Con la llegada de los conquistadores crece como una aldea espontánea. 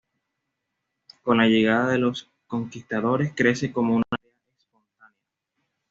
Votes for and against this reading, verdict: 1, 2, rejected